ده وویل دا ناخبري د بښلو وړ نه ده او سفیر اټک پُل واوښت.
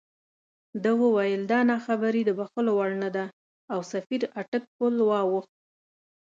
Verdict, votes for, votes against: accepted, 2, 0